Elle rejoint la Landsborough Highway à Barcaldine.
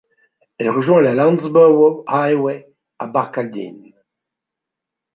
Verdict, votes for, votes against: accepted, 2, 0